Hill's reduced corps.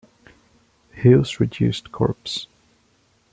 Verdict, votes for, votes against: accepted, 2, 0